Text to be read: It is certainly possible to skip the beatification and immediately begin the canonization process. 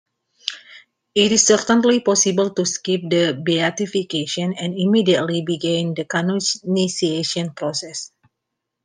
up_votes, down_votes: 0, 2